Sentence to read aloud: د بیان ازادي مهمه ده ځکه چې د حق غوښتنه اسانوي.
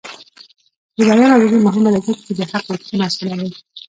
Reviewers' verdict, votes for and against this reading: rejected, 0, 2